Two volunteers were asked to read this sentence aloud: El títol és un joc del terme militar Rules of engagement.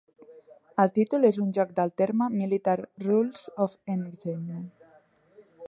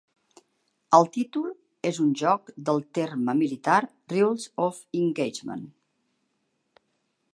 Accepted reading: second